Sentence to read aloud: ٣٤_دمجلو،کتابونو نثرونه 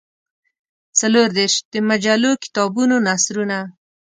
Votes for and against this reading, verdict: 0, 2, rejected